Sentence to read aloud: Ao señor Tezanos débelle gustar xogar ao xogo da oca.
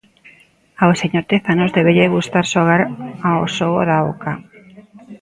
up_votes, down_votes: 1, 2